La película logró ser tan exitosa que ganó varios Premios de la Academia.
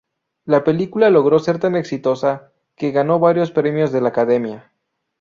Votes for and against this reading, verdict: 2, 0, accepted